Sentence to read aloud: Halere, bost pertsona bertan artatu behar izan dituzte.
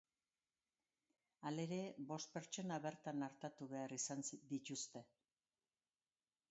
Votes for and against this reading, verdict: 3, 2, accepted